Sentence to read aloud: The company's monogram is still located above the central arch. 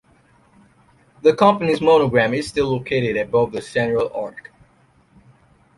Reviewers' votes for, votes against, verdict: 1, 2, rejected